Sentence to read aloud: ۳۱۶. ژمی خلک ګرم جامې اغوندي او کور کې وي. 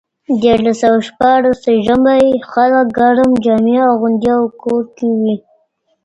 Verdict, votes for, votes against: rejected, 0, 2